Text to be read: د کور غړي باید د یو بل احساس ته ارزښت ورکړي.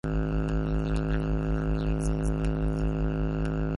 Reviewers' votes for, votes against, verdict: 0, 2, rejected